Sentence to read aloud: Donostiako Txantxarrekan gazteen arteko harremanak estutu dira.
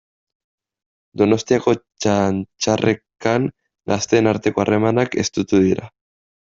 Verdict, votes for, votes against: accepted, 2, 0